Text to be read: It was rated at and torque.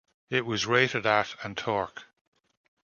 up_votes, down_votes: 2, 0